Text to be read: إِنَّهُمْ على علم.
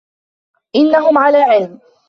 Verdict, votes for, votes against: accepted, 2, 0